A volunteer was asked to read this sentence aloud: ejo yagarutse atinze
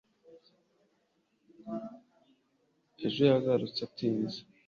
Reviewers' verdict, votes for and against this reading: accepted, 2, 1